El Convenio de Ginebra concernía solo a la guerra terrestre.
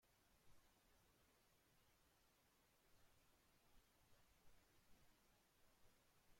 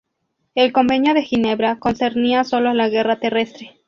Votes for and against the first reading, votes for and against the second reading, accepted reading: 0, 2, 2, 0, second